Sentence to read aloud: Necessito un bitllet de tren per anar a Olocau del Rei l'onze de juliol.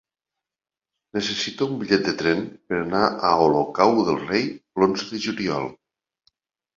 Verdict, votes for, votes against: rejected, 1, 2